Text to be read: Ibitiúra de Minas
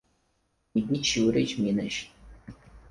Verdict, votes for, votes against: rejected, 0, 4